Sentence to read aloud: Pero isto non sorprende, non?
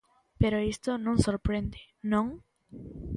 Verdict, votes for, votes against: accepted, 3, 0